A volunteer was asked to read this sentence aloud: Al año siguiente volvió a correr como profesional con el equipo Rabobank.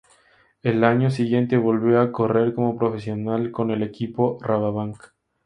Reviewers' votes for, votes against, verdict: 2, 0, accepted